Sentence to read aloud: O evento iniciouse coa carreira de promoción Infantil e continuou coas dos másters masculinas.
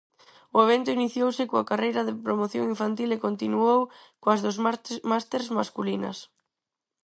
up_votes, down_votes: 0, 4